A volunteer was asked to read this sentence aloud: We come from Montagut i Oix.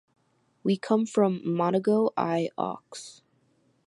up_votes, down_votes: 1, 2